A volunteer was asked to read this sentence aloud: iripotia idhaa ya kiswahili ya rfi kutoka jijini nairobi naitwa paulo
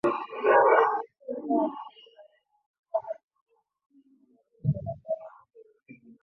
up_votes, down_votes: 0, 2